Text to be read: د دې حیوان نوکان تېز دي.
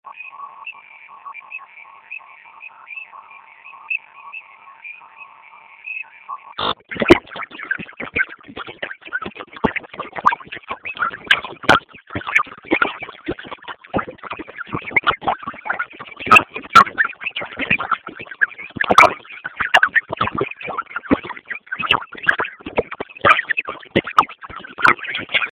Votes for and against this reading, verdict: 0, 2, rejected